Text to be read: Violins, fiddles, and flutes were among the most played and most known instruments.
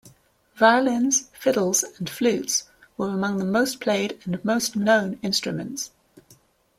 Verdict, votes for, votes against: accepted, 2, 0